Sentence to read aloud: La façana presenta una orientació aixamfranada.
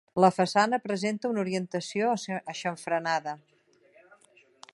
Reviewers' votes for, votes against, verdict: 1, 2, rejected